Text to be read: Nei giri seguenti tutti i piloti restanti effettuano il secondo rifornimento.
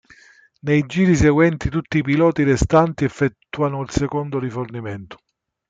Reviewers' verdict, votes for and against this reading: accepted, 2, 0